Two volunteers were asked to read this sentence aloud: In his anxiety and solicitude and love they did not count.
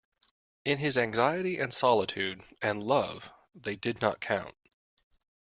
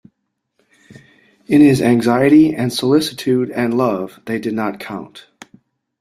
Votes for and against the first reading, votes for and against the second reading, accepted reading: 0, 2, 2, 0, second